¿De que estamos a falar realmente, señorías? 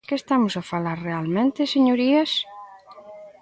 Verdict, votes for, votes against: rejected, 1, 2